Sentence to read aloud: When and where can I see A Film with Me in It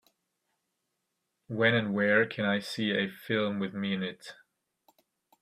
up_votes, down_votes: 2, 0